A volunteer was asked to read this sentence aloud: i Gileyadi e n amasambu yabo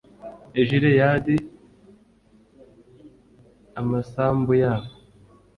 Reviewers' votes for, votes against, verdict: 1, 2, rejected